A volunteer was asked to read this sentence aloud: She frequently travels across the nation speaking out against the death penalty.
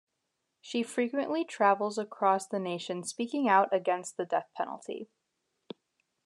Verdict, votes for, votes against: accepted, 2, 0